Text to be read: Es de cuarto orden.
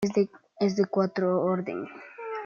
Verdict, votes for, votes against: rejected, 0, 2